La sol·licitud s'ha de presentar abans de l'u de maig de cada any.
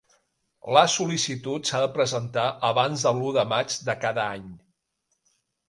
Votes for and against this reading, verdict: 2, 0, accepted